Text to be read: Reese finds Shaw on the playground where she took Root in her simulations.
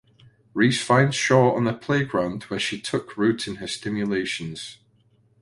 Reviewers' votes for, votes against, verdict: 0, 2, rejected